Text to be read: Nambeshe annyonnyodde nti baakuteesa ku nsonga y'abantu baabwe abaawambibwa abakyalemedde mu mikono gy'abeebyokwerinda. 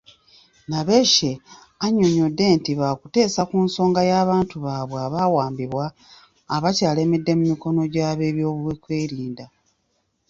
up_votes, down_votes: 0, 2